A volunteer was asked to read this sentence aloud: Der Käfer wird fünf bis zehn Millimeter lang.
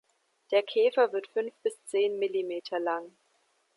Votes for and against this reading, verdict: 2, 0, accepted